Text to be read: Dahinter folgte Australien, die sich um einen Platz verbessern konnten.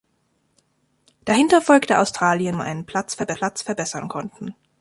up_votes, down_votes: 0, 2